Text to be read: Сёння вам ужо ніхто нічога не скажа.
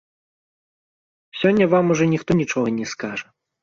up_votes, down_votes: 0, 2